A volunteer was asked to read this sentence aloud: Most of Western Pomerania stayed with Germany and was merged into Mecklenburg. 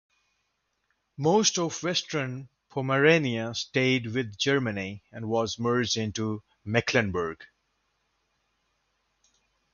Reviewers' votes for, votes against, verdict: 2, 0, accepted